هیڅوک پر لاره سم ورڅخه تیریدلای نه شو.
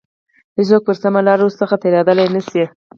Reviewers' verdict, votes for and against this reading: rejected, 2, 4